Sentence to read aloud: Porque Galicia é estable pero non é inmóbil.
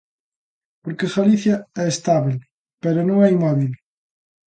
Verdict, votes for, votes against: accepted, 2, 0